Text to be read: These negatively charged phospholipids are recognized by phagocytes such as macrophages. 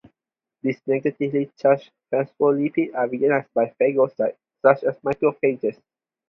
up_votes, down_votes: 0, 4